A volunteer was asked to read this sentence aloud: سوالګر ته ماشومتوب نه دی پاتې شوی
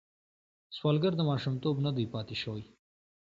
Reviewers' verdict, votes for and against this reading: accepted, 2, 0